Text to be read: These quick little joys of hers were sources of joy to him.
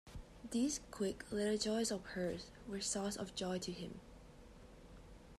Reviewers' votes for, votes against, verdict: 1, 2, rejected